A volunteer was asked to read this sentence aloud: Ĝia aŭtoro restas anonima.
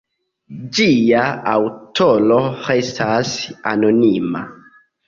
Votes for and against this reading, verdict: 0, 2, rejected